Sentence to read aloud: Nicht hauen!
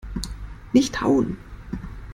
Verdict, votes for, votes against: accepted, 2, 0